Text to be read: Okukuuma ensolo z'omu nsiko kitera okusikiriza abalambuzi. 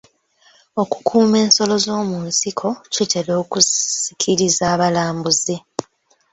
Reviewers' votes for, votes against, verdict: 2, 0, accepted